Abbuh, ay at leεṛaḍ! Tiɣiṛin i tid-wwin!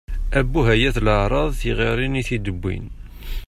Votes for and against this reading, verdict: 2, 0, accepted